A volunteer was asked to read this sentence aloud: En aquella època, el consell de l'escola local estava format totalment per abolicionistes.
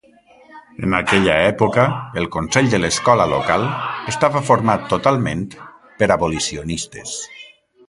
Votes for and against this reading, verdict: 1, 2, rejected